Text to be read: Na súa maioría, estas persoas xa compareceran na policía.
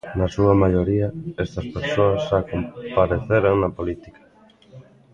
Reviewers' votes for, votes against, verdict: 1, 2, rejected